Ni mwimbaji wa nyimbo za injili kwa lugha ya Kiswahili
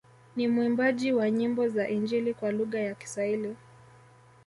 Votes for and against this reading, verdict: 2, 0, accepted